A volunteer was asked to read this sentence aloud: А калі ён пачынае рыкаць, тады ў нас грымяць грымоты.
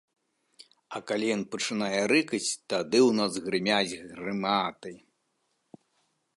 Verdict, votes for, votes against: rejected, 1, 2